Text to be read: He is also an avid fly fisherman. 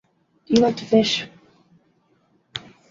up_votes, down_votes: 1, 2